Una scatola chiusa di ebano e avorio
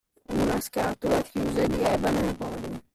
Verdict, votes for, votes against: rejected, 0, 2